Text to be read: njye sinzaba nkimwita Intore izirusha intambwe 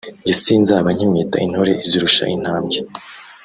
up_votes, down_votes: 0, 2